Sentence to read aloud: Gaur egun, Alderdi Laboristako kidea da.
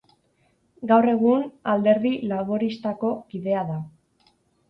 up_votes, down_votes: 2, 0